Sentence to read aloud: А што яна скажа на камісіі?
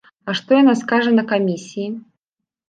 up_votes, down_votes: 2, 0